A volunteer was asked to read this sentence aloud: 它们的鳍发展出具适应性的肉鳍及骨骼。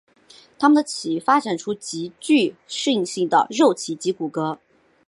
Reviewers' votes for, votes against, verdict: 3, 2, accepted